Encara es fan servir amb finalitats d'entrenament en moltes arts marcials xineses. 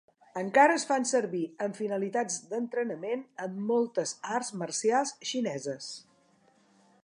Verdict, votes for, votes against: accepted, 2, 1